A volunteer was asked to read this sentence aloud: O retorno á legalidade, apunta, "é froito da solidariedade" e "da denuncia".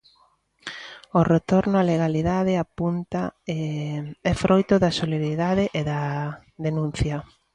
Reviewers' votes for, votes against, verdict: 0, 2, rejected